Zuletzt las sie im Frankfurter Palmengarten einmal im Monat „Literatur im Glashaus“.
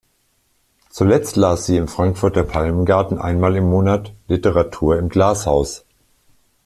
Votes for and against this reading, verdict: 2, 0, accepted